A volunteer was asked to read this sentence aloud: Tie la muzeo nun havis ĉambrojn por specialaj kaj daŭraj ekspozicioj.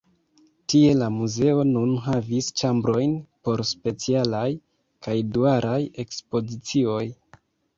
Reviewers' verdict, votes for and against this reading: rejected, 0, 2